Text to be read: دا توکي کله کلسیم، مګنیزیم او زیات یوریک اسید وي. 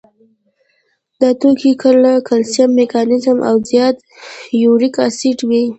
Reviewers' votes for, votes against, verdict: 1, 2, rejected